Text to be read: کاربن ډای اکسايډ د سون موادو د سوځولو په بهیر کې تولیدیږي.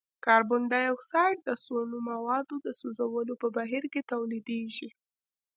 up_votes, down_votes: 0, 2